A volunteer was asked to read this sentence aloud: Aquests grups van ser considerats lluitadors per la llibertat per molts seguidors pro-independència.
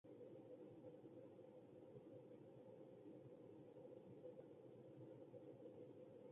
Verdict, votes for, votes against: rejected, 0, 2